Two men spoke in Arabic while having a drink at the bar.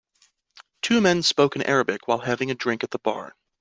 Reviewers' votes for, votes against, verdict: 2, 0, accepted